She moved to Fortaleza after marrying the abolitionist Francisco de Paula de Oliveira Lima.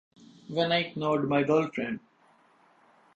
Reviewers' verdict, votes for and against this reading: rejected, 0, 2